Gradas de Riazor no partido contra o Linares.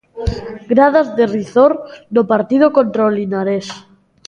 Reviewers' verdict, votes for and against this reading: rejected, 0, 2